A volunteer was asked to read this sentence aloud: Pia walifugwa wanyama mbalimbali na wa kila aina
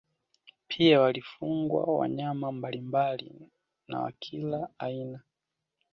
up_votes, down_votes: 2, 0